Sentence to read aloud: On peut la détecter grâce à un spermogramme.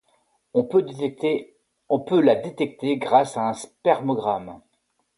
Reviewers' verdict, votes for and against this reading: rejected, 0, 2